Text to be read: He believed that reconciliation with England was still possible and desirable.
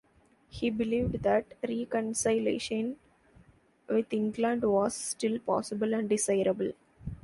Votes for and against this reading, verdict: 1, 2, rejected